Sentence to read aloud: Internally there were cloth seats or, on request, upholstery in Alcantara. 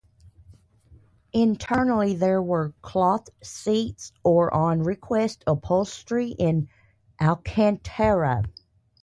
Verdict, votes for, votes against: accepted, 2, 0